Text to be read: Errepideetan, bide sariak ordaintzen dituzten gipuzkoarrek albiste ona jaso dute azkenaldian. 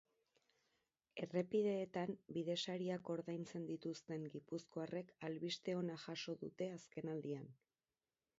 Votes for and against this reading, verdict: 2, 2, rejected